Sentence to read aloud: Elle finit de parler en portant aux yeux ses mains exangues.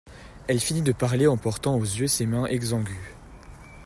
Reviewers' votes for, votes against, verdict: 1, 2, rejected